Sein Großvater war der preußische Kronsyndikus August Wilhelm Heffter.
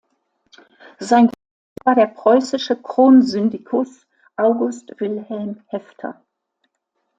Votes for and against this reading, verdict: 0, 2, rejected